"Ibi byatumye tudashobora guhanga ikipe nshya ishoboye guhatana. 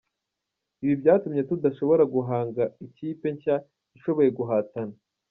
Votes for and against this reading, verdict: 2, 0, accepted